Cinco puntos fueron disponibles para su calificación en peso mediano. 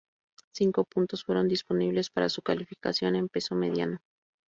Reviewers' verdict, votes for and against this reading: accepted, 2, 0